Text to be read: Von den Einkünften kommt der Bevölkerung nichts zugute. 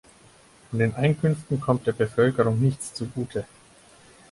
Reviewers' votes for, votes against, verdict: 4, 0, accepted